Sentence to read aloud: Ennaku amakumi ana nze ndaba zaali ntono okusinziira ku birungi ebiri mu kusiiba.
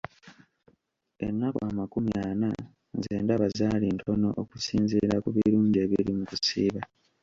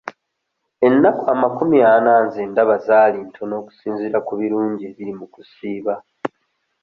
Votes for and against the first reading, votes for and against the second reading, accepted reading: 1, 2, 2, 0, second